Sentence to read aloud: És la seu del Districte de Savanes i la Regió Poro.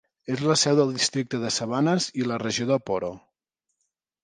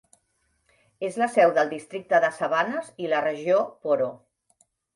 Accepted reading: second